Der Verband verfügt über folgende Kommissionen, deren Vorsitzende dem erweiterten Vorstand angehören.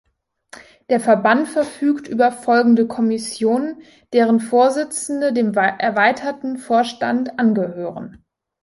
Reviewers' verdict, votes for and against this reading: rejected, 1, 2